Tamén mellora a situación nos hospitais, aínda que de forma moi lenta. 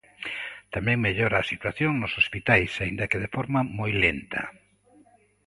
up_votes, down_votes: 2, 1